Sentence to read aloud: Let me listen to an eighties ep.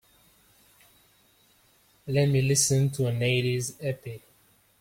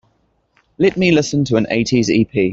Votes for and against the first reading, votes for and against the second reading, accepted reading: 0, 2, 2, 0, second